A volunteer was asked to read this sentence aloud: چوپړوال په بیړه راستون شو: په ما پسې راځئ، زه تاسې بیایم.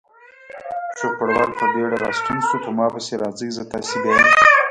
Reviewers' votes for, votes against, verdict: 0, 2, rejected